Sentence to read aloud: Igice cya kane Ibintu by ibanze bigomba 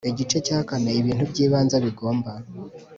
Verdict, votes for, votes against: accepted, 4, 0